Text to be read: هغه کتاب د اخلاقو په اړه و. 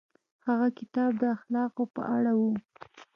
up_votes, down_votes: 2, 0